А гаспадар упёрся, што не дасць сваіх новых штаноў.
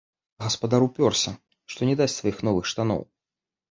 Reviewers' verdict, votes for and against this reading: accepted, 2, 0